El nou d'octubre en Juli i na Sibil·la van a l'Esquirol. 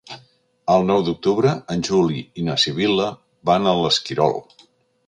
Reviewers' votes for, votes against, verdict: 3, 0, accepted